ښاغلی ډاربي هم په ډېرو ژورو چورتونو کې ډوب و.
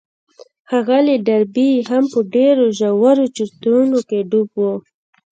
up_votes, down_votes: 2, 0